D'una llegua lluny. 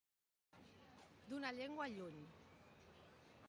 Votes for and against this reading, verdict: 1, 2, rejected